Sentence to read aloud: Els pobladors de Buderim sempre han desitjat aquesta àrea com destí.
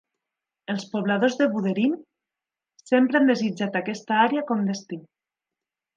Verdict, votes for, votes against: accepted, 2, 0